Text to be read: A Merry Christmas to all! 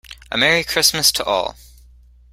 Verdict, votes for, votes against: accepted, 2, 0